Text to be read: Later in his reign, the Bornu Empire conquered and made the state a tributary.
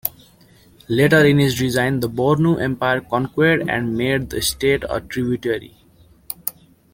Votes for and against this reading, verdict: 0, 2, rejected